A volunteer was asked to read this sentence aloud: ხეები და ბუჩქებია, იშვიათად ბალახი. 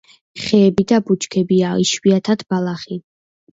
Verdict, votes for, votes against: accepted, 2, 0